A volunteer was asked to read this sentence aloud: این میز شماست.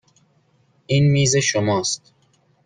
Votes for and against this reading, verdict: 2, 0, accepted